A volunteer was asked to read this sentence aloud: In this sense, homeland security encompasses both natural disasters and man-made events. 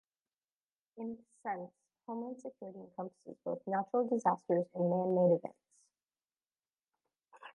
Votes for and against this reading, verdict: 0, 2, rejected